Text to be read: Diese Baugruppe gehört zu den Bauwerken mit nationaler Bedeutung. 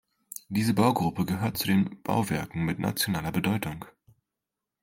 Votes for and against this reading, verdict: 2, 0, accepted